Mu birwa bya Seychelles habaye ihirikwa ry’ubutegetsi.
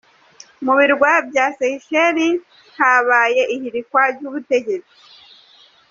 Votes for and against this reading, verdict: 2, 0, accepted